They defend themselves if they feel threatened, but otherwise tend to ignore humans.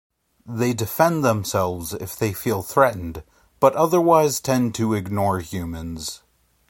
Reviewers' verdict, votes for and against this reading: accepted, 2, 0